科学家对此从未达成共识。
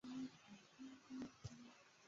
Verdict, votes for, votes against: rejected, 1, 2